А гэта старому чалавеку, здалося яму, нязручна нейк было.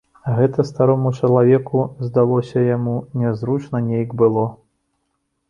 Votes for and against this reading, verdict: 2, 0, accepted